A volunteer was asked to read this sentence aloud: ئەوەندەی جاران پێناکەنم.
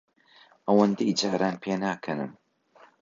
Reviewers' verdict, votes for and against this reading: accepted, 2, 0